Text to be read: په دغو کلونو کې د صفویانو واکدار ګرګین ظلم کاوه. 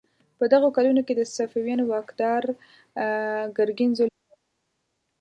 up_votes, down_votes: 0, 2